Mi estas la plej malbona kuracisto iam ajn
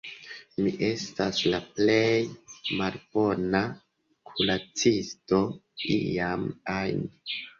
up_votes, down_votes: 2, 1